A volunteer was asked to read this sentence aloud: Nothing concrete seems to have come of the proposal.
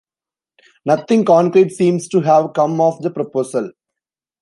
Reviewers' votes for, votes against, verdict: 2, 0, accepted